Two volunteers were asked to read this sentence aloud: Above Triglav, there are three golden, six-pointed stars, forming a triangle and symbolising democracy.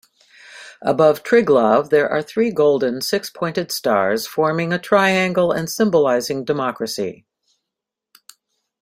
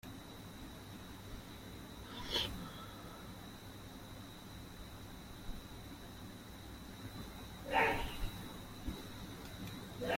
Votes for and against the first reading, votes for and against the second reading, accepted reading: 2, 0, 0, 2, first